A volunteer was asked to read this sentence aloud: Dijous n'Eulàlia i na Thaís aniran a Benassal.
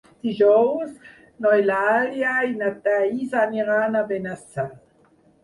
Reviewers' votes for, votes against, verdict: 2, 4, rejected